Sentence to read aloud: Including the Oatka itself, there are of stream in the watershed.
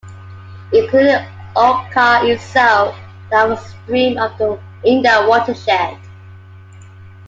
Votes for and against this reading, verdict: 2, 1, accepted